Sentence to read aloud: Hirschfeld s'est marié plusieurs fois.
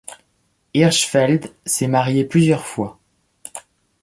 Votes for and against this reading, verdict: 2, 0, accepted